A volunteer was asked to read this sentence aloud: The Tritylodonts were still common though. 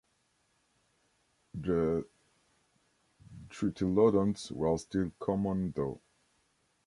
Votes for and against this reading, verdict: 0, 2, rejected